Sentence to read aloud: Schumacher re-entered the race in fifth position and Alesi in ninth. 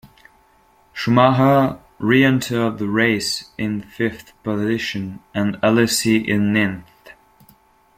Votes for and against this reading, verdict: 0, 2, rejected